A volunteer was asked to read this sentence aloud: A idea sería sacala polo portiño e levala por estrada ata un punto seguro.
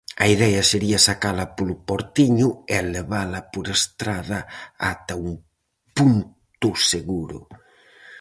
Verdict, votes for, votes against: rejected, 2, 2